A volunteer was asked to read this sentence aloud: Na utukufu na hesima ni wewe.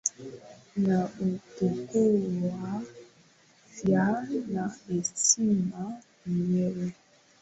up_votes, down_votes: 0, 2